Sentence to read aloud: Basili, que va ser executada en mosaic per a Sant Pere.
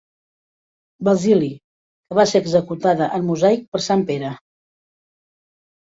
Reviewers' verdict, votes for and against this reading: rejected, 0, 2